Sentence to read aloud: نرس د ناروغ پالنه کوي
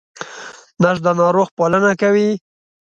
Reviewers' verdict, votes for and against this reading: accepted, 2, 0